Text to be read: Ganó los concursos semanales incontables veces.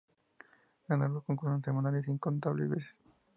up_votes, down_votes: 0, 2